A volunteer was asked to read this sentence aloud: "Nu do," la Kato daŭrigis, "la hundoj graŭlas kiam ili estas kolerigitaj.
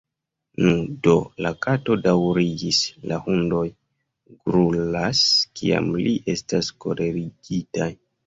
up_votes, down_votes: 3, 4